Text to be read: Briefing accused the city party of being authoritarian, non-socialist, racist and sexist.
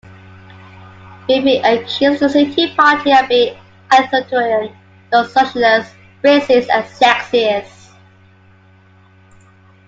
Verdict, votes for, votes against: rejected, 1, 2